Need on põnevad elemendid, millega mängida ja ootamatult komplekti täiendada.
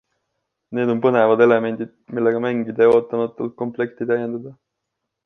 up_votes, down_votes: 2, 0